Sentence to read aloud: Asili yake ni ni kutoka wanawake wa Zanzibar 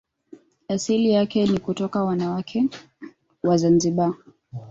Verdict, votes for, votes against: rejected, 0, 2